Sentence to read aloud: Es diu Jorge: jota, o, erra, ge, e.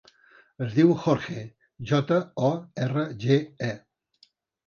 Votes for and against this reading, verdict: 2, 1, accepted